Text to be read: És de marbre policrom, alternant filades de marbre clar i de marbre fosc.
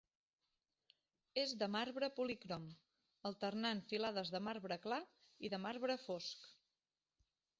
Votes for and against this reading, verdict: 1, 2, rejected